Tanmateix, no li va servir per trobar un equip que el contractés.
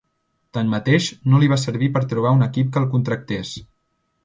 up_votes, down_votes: 2, 0